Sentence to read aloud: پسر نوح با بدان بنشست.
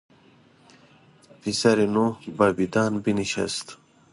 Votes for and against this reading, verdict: 2, 0, accepted